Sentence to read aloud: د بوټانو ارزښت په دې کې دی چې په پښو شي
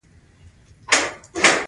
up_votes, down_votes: 2, 0